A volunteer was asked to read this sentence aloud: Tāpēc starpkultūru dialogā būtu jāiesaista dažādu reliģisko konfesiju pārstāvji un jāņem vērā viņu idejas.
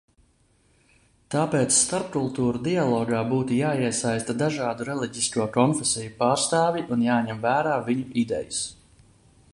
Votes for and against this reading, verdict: 2, 0, accepted